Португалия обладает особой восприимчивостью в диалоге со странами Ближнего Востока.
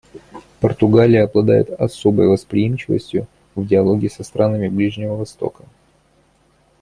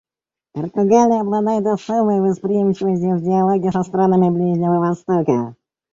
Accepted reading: first